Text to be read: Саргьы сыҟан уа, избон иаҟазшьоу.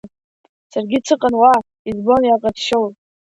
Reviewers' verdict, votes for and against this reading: accepted, 2, 0